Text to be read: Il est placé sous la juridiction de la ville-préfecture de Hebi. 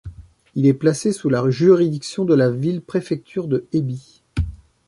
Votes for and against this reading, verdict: 1, 2, rejected